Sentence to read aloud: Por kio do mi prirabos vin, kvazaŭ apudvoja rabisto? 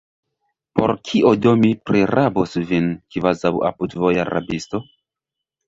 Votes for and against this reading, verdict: 1, 2, rejected